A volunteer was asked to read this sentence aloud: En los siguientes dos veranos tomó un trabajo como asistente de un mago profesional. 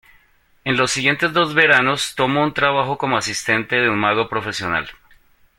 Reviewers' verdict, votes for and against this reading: accepted, 2, 0